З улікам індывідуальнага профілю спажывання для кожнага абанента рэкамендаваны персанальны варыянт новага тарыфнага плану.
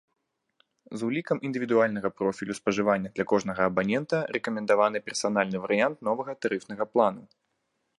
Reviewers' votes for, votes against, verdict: 2, 0, accepted